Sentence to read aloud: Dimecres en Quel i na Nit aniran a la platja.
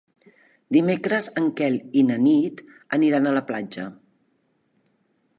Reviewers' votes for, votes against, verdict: 3, 0, accepted